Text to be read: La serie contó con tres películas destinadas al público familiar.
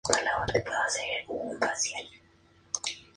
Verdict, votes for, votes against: rejected, 0, 4